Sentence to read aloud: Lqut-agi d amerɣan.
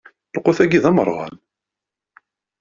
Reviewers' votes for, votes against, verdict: 2, 0, accepted